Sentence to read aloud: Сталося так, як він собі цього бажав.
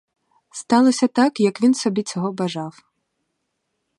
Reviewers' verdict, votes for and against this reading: accepted, 2, 0